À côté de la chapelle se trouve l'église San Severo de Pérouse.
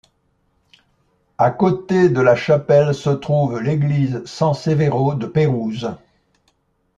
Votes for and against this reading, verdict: 2, 0, accepted